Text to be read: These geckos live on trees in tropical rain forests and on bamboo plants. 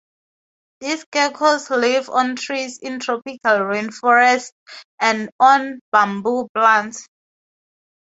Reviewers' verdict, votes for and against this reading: accepted, 2, 0